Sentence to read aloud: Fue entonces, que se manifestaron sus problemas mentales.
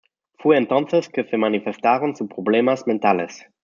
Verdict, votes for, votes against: accepted, 2, 0